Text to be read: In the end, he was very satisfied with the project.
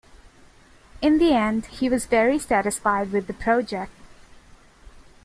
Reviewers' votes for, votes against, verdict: 2, 0, accepted